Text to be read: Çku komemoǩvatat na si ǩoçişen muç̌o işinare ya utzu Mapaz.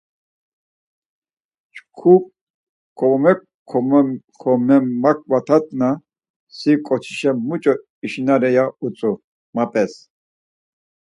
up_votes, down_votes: 0, 4